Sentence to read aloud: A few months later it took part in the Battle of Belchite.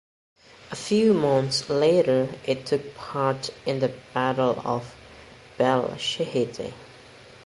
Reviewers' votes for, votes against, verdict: 1, 2, rejected